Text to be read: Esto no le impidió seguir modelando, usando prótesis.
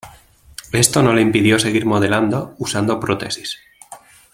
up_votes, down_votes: 2, 0